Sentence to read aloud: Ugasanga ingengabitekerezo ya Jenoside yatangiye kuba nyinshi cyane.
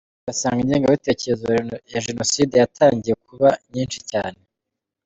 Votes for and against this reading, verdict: 2, 0, accepted